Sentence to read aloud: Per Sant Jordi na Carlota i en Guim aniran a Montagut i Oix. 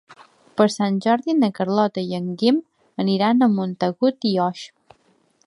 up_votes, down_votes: 2, 0